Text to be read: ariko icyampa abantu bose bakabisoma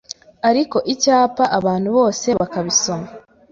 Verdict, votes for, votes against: rejected, 0, 2